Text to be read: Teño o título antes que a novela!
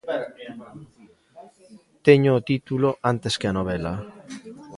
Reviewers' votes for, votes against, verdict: 0, 2, rejected